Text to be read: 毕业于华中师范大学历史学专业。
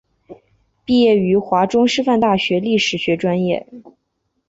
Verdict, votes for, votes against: accepted, 7, 0